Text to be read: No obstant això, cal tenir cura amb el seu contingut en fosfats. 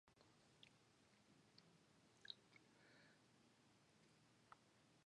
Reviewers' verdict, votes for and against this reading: rejected, 0, 2